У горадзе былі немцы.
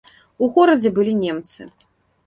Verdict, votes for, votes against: accepted, 2, 0